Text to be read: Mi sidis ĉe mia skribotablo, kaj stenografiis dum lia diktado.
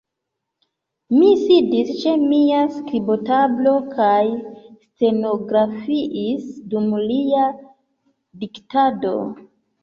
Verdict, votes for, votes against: accepted, 2, 0